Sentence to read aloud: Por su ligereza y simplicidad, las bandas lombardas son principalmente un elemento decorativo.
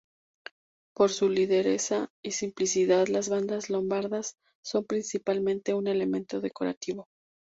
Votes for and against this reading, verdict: 0, 2, rejected